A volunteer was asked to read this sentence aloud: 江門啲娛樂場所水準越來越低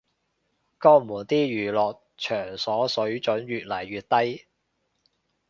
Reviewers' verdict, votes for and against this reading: rejected, 2, 2